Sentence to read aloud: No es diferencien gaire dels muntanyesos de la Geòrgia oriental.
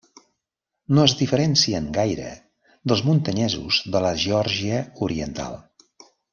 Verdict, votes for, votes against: rejected, 1, 2